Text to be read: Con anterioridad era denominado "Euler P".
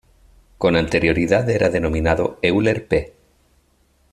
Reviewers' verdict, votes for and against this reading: accepted, 2, 0